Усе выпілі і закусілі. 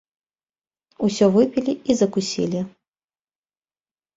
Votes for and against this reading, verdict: 1, 2, rejected